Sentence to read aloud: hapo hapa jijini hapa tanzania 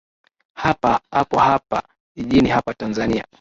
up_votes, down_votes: 0, 2